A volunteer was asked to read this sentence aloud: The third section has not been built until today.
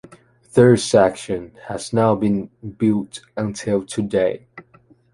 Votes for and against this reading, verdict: 1, 2, rejected